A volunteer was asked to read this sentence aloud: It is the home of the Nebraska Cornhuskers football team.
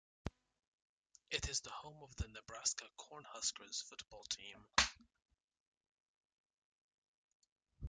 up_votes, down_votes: 2, 0